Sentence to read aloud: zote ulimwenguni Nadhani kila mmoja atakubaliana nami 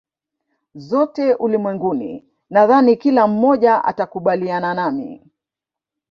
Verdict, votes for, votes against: rejected, 0, 2